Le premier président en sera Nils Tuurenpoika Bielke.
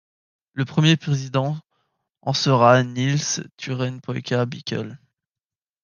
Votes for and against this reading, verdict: 1, 2, rejected